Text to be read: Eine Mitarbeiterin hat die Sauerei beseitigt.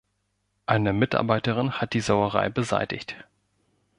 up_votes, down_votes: 2, 0